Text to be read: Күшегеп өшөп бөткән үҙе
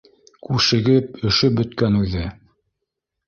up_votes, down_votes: 2, 0